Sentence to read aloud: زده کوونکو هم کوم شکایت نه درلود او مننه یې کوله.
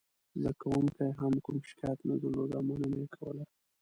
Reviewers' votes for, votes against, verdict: 0, 2, rejected